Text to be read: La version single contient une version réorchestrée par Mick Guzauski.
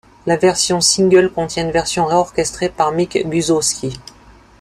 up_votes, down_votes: 2, 0